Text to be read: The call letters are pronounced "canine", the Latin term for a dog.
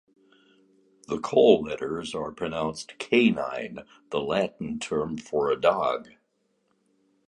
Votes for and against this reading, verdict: 2, 0, accepted